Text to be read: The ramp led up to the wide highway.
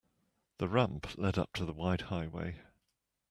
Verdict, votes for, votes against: accepted, 2, 0